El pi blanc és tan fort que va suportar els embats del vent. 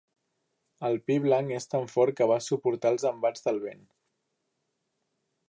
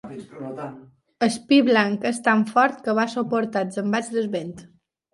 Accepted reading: first